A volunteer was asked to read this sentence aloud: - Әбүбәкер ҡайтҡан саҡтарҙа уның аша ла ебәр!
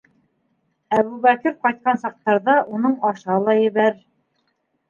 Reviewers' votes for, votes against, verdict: 1, 2, rejected